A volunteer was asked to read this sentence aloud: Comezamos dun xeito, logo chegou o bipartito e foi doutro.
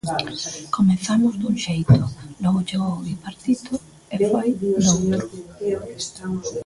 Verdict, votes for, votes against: rejected, 1, 2